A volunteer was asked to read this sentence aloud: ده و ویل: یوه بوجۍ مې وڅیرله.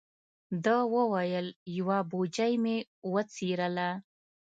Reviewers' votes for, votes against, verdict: 2, 0, accepted